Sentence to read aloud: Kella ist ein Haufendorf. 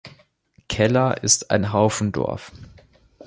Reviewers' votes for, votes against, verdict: 2, 0, accepted